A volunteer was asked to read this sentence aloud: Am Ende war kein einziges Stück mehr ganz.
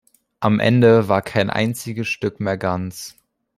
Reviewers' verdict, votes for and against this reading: accepted, 2, 0